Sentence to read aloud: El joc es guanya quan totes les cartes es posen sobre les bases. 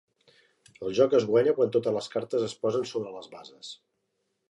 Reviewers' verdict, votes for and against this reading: accepted, 3, 0